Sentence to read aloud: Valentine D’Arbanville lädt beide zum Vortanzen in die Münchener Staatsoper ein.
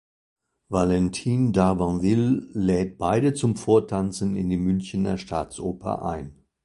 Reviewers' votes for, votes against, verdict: 2, 0, accepted